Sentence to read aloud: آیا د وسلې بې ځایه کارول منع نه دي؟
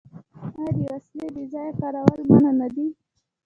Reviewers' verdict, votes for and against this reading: rejected, 1, 2